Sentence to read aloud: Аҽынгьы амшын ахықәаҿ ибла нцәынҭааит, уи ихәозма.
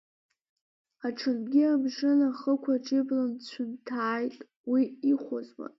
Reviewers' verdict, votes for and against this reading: accepted, 2, 1